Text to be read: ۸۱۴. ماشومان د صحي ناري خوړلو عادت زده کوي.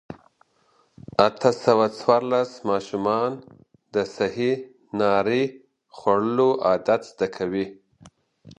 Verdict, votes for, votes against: rejected, 0, 2